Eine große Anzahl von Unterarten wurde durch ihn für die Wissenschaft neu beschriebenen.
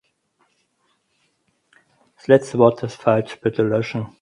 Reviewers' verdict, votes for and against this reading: rejected, 0, 4